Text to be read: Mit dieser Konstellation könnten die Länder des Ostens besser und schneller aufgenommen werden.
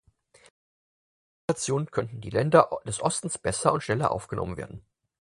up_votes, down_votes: 0, 4